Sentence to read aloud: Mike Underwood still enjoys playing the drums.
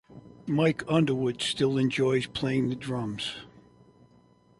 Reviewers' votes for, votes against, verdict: 2, 0, accepted